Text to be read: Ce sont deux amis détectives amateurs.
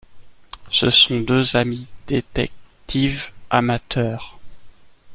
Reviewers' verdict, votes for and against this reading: accepted, 2, 0